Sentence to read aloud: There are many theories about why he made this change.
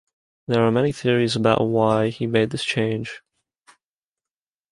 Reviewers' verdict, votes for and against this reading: accepted, 2, 0